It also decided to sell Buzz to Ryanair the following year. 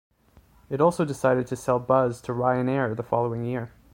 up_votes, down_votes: 2, 0